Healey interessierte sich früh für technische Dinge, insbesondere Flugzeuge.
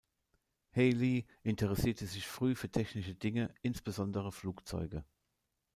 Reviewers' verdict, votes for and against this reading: accepted, 2, 1